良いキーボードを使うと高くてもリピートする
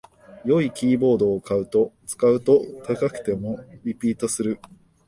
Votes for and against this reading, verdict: 1, 2, rejected